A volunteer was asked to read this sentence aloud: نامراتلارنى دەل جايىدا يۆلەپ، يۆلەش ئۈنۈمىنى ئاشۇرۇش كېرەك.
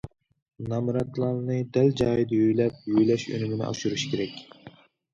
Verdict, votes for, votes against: rejected, 1, 2